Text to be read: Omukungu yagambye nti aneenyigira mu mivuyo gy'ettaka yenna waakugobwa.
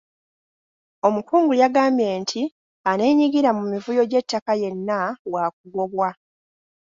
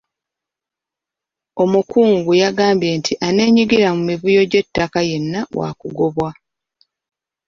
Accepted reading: first